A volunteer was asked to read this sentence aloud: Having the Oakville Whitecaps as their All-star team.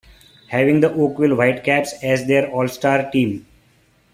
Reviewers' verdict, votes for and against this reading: accepted, 2, 0